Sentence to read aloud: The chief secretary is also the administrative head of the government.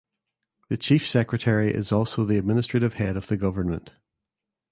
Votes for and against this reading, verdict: 2, 0, accepted